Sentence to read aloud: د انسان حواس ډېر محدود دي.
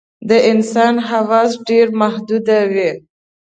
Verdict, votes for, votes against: rejected, 0, 3